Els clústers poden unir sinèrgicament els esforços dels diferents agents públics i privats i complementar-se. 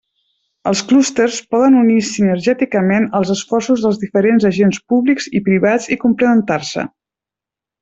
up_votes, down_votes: 0, 2